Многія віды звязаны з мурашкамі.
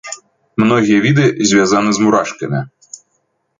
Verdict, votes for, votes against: accepted, 2, 0